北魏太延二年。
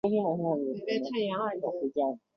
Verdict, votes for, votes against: rejected, 0, 2